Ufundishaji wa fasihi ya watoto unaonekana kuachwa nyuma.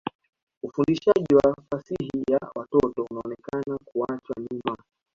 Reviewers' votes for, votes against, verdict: 1, 2, rejected